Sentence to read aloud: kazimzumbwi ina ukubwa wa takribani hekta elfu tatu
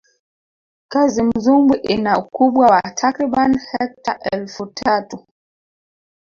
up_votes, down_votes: 1, 2